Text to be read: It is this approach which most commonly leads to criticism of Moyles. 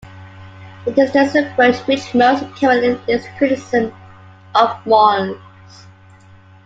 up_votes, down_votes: 0, 2